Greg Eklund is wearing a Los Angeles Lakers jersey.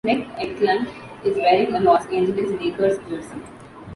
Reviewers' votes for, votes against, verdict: 0, 2, rejected